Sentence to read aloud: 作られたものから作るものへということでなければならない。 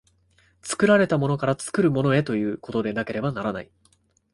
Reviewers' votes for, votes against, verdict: 2, 0, accepted